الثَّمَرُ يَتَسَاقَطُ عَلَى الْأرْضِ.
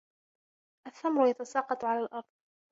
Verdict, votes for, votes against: accepted, 2, 0